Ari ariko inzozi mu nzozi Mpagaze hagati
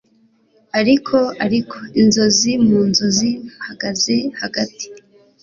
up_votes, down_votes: 2, 0